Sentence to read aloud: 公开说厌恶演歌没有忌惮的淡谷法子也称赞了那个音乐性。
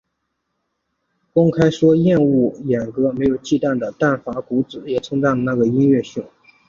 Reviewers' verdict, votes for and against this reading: accepted, 2, 1